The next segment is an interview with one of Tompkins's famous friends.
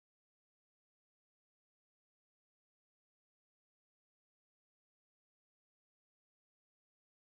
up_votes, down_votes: 0, 2